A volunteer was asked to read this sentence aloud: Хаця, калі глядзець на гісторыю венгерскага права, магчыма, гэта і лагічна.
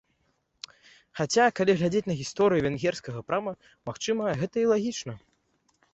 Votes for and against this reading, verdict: 1, 2, rejected